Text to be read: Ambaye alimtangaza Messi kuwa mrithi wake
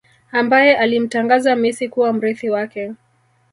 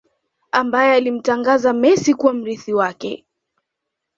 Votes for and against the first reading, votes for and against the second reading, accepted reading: 1, 2, 2, 0, second